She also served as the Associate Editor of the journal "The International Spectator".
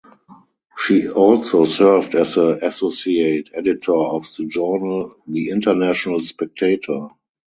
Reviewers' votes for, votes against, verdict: 2, 2, rejected